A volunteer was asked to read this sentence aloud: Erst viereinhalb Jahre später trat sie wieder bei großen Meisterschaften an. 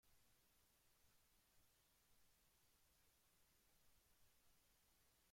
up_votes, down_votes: 0, 2